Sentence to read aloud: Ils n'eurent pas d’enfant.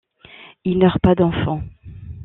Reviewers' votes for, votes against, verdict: 1, 2, rejected